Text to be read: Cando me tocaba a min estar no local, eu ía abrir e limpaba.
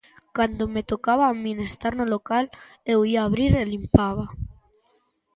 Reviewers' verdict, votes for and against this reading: accepted, 2, 0